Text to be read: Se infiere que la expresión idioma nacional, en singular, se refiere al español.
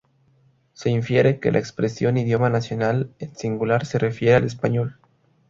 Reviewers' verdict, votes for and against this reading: rejected, 0, 2